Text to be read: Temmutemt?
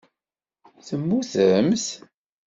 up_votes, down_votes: 2, 0